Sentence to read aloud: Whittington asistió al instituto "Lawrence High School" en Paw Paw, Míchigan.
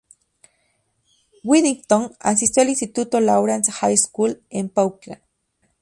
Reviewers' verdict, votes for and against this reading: rejected, 0, 2